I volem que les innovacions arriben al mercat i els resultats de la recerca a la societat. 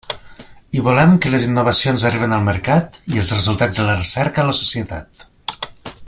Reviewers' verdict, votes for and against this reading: accepted, 2, 1